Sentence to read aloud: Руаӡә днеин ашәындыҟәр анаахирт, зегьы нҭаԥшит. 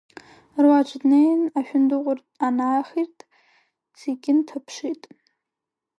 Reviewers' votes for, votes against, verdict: 0, 2, rejected